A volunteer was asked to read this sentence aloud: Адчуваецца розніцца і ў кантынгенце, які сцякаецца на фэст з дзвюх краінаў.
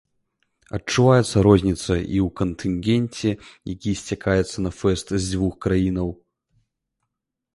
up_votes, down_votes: 2, 0